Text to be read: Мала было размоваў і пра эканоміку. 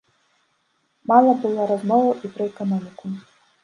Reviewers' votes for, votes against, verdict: 2, 1, accepted